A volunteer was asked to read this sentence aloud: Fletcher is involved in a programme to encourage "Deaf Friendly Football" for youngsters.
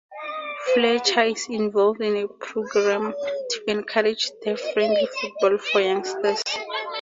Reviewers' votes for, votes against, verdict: 2, 0, accepted